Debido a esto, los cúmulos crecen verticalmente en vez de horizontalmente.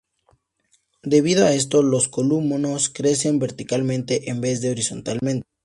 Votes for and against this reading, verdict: 0, 2, rejected